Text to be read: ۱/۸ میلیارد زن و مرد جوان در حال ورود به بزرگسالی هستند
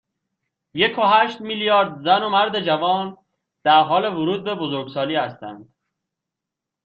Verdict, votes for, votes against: rejected, 0, 2